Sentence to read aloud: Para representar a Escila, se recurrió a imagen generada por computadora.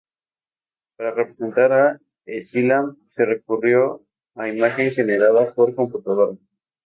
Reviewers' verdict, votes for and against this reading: rejected, 0, 2